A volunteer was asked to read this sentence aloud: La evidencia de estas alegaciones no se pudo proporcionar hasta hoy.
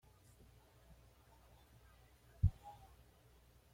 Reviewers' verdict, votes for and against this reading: rejected, 1, 2